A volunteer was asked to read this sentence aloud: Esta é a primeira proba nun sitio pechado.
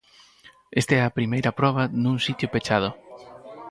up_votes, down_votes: 2, 4